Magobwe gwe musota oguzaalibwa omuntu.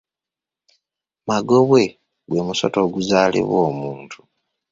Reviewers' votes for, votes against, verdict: 2, 0, accepted